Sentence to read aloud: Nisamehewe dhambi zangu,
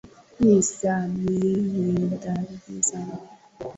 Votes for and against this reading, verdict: 2, 0, accepted